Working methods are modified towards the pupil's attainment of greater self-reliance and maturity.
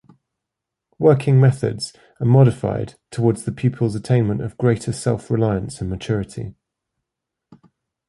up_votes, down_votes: 2, 0